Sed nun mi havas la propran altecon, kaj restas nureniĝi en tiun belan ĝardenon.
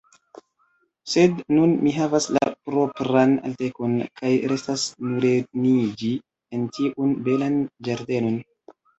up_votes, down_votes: 2, 0